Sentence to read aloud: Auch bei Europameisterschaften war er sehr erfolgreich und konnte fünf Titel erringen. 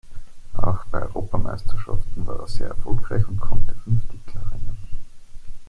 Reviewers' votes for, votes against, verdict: 1, 2, rejected